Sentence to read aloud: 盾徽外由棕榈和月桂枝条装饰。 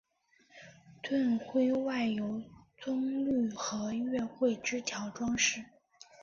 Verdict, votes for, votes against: accepted, 3, 0